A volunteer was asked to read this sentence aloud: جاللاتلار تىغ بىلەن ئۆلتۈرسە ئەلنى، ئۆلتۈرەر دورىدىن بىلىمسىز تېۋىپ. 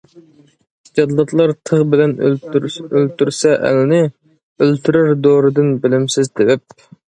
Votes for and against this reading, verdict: 0, 2, rejected